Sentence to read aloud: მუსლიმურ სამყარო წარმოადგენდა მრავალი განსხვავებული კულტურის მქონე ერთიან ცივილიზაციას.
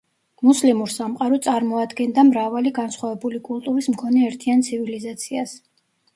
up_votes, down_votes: 2, 0